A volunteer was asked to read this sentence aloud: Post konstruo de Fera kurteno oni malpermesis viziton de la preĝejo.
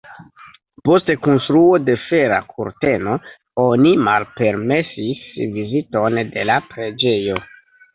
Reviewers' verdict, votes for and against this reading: rejected, 0, 2